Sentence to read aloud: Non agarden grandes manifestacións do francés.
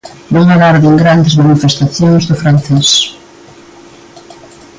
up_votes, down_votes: 2, 1